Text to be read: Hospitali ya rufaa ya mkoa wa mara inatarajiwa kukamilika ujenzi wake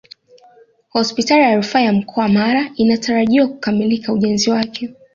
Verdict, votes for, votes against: accepted, 2, 0